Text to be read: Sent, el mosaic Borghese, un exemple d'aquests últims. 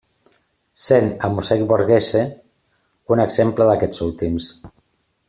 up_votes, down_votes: 2, 0